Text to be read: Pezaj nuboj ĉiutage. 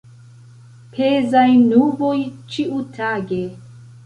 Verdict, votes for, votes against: accepted, 2, 0